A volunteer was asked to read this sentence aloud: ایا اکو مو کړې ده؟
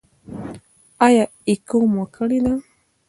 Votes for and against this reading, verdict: 2, 1, accepted